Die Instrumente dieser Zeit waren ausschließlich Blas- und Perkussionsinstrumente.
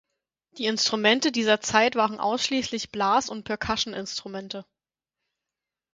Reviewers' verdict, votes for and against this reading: rejected, 2, 4